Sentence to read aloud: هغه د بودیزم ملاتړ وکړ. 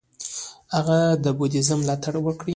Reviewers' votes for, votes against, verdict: 2, 0, accepted